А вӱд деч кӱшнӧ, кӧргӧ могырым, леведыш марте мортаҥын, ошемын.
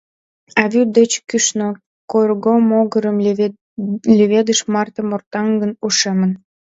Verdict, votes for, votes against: rejected, 1, 2